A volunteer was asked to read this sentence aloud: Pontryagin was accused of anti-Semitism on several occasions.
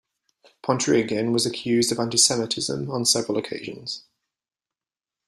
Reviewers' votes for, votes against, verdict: 2, 0, accepted